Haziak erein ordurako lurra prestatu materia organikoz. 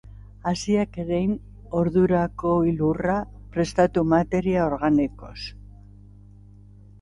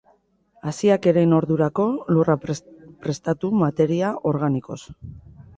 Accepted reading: first